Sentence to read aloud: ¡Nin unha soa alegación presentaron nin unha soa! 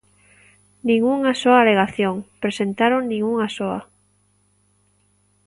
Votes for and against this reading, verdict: 2, 0, accepted